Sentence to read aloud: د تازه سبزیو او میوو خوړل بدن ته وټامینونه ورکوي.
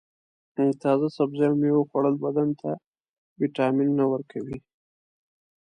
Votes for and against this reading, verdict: 2, 0, accepted